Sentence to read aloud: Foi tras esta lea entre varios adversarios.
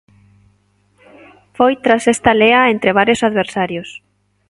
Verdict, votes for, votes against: accepted, 2, 0